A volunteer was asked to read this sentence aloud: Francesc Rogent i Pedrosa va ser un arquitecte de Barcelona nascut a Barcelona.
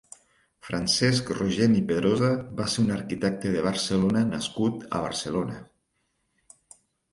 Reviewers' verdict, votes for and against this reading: accepted, 6, 0